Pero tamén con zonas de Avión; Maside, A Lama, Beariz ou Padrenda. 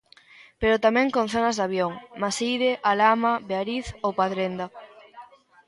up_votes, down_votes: 1, 2